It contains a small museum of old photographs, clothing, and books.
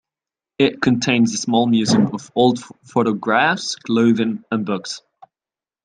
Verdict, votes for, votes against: accepted, 2, 0